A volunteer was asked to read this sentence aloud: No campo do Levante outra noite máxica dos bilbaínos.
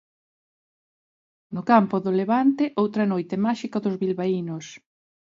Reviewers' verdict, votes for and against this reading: accepted, 2, 0